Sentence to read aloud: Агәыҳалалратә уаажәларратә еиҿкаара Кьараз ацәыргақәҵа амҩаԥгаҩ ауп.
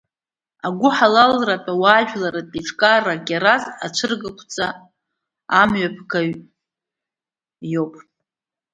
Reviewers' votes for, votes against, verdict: 0, 2, rejected